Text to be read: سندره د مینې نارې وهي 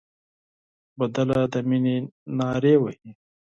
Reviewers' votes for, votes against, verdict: 0, 4, rejected